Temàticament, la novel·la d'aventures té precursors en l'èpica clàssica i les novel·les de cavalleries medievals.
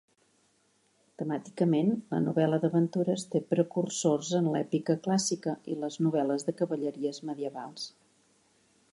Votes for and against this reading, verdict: 2, 0, accepted